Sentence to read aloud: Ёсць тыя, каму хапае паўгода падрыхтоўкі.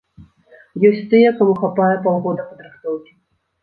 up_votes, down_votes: 1, 2